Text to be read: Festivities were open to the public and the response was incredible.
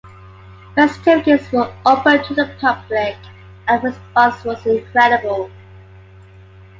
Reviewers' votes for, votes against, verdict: 2, 1, accepted